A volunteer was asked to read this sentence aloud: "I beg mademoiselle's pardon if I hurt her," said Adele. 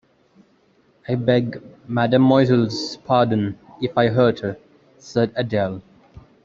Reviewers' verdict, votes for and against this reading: rejected, 0, 2